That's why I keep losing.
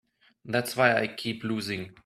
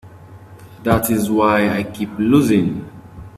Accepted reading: first